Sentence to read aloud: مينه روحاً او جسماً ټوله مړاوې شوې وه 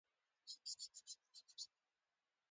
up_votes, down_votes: 2, 1